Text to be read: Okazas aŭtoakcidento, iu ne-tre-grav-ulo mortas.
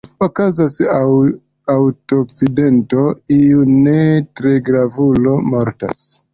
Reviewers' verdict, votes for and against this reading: accepted, 2, 0